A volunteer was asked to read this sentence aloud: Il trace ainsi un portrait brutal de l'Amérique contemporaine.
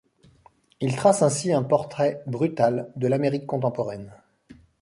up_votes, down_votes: 2, 0